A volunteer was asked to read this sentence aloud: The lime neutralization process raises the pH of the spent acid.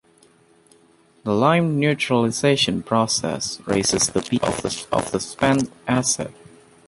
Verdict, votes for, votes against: rejected, 0, 2